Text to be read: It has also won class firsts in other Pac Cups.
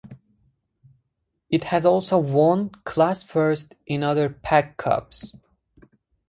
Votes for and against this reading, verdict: 2, 2, rejected